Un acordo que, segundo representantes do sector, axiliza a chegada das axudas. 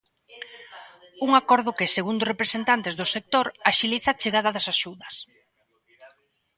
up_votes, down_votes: 2, 0